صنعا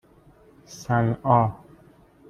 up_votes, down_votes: 2, 0